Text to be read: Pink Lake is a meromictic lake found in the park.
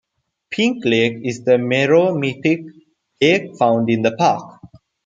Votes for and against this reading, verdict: 1, 2, rejected